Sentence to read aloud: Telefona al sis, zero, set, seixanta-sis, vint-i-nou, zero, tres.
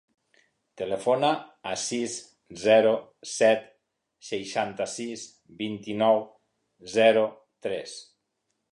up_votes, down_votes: 1, 2